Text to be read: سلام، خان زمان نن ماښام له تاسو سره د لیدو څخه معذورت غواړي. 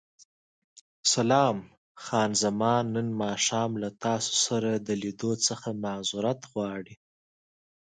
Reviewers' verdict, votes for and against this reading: accepted, 2, 1